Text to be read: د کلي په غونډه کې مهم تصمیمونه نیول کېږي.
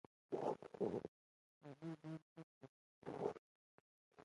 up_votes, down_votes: 0, 2